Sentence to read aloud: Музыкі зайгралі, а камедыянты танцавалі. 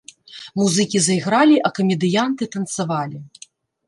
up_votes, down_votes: 2, 0